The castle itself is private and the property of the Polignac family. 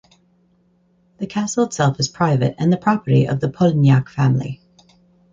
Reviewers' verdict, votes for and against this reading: accepted, 4, 0